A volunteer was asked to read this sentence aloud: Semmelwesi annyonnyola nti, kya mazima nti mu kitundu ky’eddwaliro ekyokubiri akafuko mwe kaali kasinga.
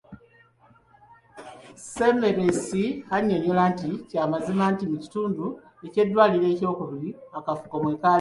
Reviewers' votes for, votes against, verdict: 0, 2, rejected